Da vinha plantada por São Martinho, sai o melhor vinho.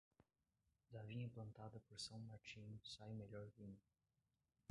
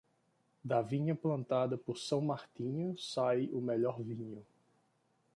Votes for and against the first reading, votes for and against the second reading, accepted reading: 1, 2, 2, 0, second